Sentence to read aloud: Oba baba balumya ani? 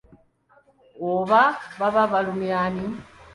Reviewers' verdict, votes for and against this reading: accepted, 2, 0